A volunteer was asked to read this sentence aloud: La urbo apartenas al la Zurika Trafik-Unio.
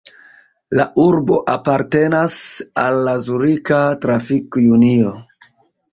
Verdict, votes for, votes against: accepted, 2, 0